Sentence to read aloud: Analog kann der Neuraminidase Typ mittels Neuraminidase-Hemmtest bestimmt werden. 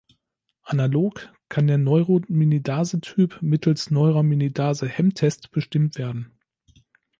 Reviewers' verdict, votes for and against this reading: rejected, 1, 2